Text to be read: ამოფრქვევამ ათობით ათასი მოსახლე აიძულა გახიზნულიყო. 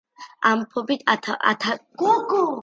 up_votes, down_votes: 0, 2